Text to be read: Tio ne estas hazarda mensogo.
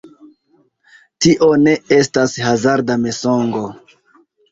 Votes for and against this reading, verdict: 0, 2, rejected